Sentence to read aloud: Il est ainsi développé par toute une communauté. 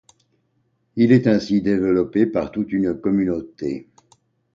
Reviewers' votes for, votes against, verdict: 2, 0, accepted